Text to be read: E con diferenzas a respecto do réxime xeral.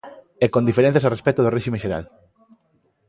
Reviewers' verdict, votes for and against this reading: accepted, 2, 0